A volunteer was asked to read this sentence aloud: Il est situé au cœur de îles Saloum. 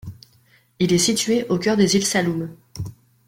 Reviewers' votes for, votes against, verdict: 2, 0, accepted